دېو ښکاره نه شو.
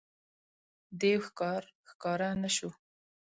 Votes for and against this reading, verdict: 1, 2, rejected